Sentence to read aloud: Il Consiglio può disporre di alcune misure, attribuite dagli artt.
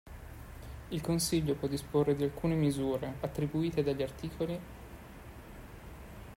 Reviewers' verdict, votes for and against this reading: rejected, 1, 3